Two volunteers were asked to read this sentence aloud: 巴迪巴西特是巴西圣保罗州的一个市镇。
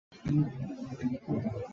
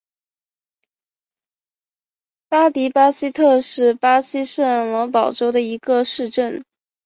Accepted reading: second